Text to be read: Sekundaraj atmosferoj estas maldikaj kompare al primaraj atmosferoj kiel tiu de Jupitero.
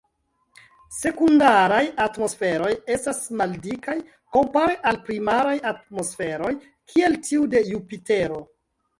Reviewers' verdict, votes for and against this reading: accepted, 2, 0